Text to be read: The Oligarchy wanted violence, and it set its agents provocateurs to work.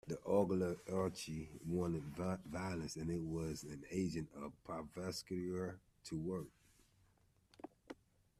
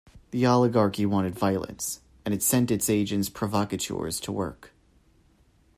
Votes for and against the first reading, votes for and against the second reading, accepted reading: 0, 2, 2, 0, second